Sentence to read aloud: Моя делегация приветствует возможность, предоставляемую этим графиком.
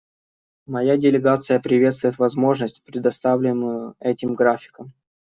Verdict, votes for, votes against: rejected, 1, 2